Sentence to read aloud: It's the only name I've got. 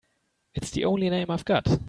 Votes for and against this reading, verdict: 2, 0, accepted